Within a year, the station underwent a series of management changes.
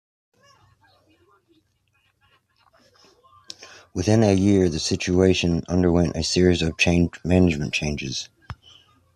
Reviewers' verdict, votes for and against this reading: accepted, 2, 1